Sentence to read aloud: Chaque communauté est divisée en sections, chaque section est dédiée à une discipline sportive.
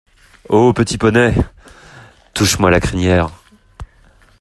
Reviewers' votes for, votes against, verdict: 0, 2, rejected